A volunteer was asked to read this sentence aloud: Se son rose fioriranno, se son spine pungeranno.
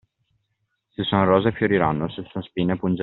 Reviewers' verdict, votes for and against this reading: rejected, 0, 2